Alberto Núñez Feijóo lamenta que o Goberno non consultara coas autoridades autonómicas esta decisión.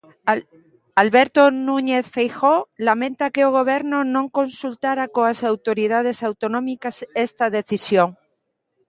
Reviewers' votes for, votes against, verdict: 1, 2, rejected